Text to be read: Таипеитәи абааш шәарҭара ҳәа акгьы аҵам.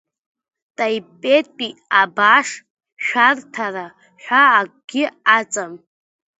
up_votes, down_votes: 0, 2